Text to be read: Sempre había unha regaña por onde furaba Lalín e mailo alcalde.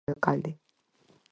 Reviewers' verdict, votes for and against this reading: rejected, 0, 4